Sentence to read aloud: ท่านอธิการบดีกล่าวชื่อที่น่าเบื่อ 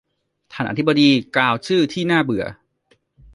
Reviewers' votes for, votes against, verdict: 1, 2, rejected